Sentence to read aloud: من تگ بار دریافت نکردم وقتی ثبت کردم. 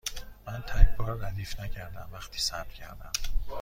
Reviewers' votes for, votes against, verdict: 2, 1, accepted